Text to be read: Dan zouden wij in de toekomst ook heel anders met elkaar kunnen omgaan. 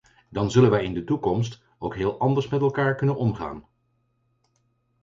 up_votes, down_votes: 0, 4